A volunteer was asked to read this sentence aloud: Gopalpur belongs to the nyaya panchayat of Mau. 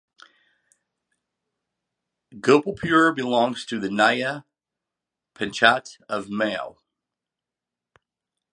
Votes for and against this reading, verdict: 1, 2, rejected